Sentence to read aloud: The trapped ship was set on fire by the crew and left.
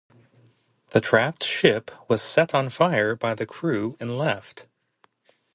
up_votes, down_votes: 0, 2